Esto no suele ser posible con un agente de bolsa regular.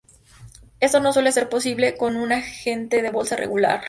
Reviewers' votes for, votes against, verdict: 0, 2, rejected